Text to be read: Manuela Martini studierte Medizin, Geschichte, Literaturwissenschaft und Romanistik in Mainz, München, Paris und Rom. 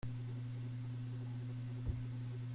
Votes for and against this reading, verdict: 0, 2, rejected